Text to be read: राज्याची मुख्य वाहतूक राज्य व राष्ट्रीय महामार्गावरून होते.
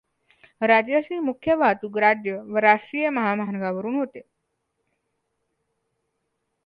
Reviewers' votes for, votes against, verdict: 2, 0, accepted